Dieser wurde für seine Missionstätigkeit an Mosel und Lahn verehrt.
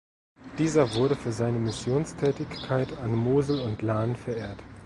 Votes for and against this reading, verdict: 2, 0, accepted